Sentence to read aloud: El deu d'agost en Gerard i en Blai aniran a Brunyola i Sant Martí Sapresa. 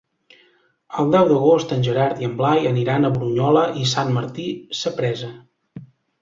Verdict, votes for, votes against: accepted, 2, 0